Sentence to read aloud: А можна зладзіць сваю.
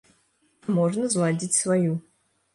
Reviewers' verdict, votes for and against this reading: rejected, 1, 2